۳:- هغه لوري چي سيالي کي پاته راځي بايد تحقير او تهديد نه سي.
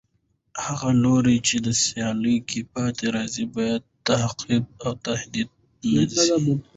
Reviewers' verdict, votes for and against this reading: rejected, 0, 2